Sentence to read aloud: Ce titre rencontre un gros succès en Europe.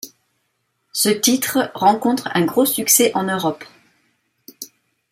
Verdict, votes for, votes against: accepted, 2, 0